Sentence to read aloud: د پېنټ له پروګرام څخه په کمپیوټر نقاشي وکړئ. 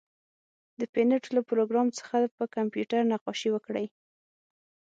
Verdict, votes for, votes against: rejected, 0, 6